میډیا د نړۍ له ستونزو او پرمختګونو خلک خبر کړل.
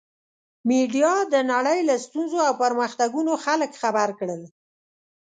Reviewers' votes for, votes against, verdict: 2, 0, accepted